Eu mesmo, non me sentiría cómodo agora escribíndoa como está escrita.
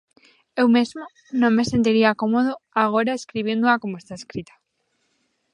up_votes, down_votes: 2, 1